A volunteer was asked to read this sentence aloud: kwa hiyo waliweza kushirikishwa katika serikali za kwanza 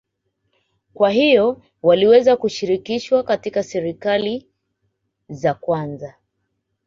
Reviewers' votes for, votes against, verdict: 2, 0, accepted